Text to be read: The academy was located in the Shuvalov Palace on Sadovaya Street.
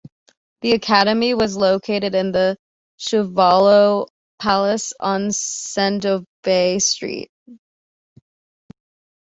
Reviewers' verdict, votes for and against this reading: accepted, 2, 1